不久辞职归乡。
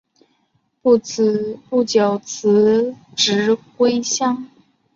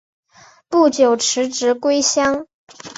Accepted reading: second